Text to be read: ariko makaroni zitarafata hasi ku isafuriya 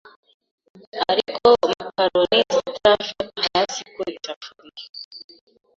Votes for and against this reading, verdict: 0, 2, rejected